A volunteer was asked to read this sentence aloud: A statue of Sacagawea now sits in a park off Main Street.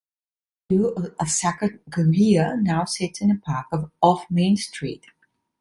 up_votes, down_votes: 0, 2